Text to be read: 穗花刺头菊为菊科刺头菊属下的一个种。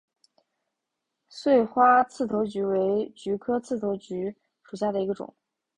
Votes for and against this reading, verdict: 5, 0, accepted